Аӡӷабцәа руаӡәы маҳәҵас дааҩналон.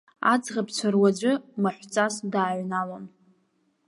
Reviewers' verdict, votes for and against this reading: accepted, 2, 0